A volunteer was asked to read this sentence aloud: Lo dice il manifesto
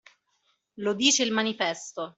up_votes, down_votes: 2, 0